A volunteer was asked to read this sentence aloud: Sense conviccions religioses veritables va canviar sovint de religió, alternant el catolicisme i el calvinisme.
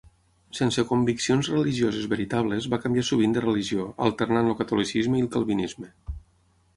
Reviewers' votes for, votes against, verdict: 6, 0, accepted